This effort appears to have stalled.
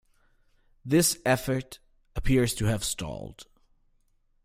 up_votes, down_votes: 2, 0